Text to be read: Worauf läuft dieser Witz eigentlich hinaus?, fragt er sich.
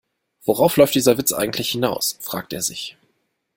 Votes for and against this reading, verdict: 2, 0, accepted